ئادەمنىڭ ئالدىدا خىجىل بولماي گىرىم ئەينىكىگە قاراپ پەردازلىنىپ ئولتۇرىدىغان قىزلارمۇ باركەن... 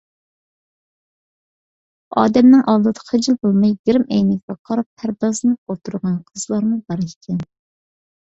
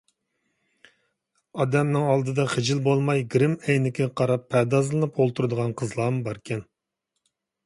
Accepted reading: second